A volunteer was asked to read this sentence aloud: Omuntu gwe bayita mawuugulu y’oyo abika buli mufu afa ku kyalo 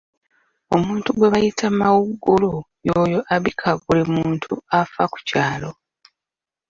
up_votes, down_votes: 0, 2